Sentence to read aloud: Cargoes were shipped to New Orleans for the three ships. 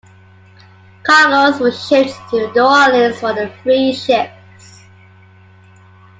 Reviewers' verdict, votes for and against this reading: accepted, 2, 1